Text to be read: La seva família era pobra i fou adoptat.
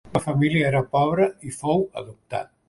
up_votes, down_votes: 0, 2